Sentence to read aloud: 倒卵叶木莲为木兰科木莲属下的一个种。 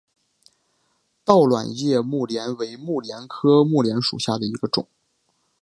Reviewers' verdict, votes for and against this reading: rejected, 0, 2